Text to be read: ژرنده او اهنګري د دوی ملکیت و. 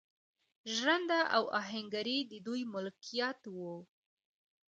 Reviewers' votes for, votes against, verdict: 0, 2, rejected